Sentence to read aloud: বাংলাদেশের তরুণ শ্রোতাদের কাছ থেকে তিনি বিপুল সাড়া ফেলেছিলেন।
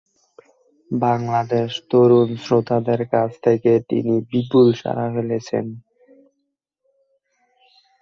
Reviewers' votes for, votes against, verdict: 6, 8, rejected